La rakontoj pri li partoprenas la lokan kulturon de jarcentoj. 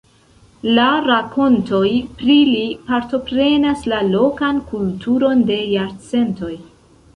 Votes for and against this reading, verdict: 1, 2, rejected